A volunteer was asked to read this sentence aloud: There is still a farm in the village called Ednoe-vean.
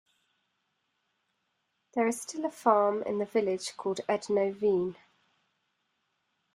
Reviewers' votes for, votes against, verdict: 2, 0, accepted